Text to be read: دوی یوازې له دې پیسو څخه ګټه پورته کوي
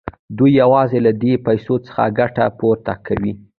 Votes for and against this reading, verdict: 1, 2, rejected